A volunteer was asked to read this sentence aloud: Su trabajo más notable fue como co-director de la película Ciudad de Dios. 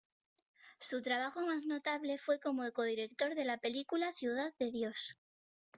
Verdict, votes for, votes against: rejected, 1, 2